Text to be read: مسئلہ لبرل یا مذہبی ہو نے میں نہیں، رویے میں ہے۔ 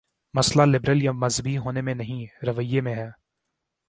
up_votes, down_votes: 4, 0